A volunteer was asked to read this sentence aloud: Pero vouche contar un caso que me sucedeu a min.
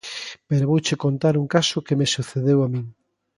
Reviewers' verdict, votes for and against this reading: accepted, 2, 0